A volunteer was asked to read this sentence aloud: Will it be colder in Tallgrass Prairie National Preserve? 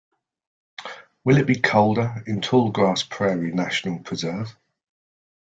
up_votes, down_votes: 2, 0